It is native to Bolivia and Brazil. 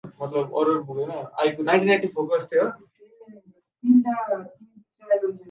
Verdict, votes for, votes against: rejected, 1, 2